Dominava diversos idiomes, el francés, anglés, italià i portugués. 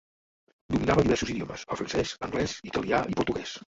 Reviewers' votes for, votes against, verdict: 1, 2, rejected